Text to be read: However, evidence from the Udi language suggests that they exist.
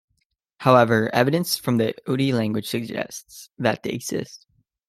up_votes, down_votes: 2, 0